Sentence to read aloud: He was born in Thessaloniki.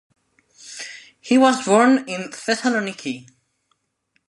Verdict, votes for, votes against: accepted, 2, 0